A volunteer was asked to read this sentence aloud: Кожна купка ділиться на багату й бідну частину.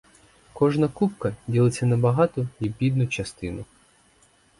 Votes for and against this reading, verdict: 2, 2, rejected